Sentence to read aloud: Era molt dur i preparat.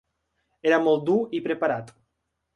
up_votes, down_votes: 3, 0